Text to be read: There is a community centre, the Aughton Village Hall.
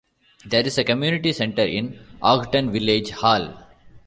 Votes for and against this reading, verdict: 1, 2, rejected